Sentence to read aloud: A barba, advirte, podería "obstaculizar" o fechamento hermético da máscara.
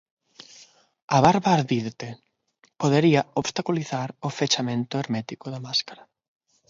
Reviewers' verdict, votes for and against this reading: rejected, 0, 6